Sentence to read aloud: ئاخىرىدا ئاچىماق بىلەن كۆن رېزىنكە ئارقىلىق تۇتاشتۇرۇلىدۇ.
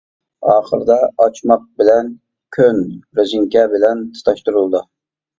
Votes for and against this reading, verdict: 0, 2, rejected